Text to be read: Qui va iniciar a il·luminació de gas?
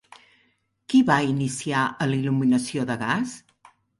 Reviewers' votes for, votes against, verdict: 1, 2, rejected